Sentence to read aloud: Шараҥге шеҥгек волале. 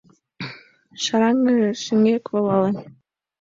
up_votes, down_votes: 3, 7